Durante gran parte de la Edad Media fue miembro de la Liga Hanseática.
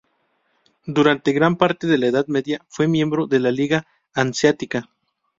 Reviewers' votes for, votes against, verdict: 2, 0, accepted